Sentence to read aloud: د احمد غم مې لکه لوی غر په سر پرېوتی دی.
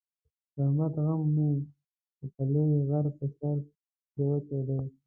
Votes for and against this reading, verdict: 0, 2, rejected